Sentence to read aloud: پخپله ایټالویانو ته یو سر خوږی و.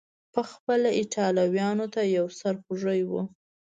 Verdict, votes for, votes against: accepted, 3, 0